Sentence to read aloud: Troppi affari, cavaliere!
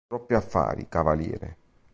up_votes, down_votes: 1, 2